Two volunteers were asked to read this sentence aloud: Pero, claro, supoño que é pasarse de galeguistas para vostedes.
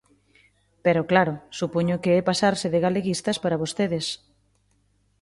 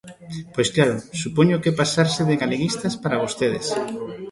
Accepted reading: first